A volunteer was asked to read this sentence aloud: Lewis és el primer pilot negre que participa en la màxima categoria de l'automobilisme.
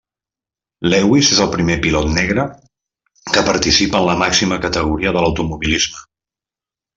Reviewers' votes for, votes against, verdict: 2, 0, accepted